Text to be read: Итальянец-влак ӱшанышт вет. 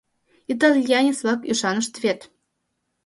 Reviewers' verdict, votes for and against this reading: accepted, 2, 0